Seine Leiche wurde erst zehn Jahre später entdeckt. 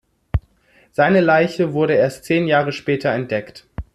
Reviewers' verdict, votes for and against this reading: accepted, 2, 0